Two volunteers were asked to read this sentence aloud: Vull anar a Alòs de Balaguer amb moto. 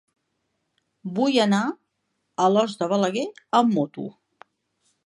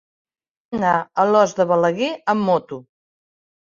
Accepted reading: first